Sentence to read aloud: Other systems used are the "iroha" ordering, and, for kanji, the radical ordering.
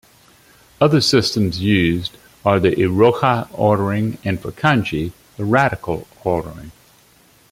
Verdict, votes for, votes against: accepted, 2, 0